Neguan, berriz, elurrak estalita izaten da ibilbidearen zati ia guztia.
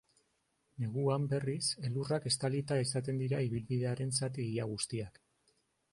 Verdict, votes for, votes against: rejected, 0, 2